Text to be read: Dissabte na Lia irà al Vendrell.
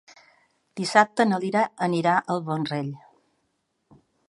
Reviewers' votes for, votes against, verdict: 5, 4, accepted